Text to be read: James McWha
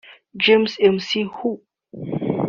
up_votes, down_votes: 1, 2